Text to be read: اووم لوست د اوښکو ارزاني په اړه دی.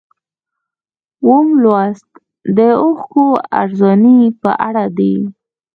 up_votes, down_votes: 2, 0